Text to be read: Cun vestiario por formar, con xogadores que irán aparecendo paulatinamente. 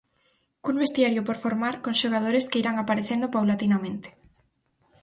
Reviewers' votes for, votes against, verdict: 4, 0, accepted